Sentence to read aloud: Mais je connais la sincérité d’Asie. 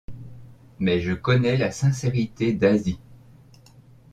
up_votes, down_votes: 2, 0